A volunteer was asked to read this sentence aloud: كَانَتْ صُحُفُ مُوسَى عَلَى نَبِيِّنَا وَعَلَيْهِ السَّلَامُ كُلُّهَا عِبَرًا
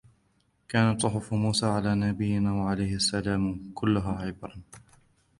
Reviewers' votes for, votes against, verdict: 2, 3, rejected